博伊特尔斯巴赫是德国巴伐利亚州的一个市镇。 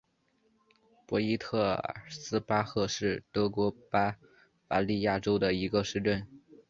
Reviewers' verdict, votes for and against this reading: accepted, 7, 2